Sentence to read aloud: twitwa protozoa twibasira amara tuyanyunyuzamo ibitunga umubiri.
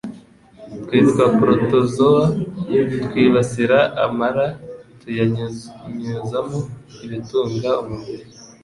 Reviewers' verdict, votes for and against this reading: accepted, 2, 0